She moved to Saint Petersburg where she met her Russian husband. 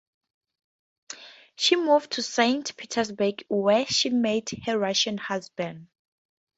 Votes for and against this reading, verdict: 2, 0, accepted